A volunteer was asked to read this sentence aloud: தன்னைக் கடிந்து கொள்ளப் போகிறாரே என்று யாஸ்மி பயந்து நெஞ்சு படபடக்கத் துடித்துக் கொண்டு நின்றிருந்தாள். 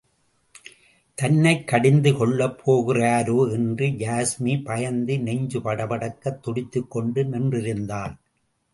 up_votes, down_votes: 2, 1